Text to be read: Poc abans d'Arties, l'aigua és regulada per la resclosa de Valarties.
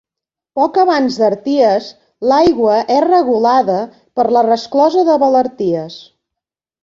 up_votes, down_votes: 2, 0